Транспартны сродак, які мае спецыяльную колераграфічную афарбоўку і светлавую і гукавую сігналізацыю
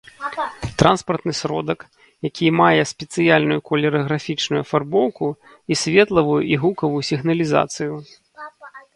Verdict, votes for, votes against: rejected, 0, 2